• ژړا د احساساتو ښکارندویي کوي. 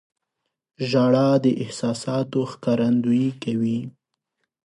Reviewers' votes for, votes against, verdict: 2, 0, accepted